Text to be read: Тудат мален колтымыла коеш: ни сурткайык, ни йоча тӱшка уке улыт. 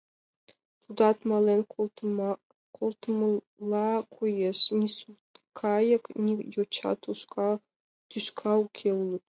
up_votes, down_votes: 1, 3